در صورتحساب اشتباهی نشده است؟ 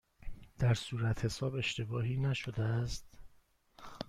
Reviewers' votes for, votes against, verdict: 1, 2, rejected